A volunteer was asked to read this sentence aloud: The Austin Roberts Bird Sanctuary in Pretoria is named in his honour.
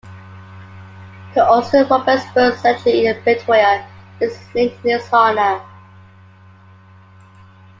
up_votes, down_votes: 2, 1